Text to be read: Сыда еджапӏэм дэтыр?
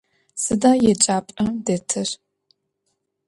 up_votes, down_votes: 0, 2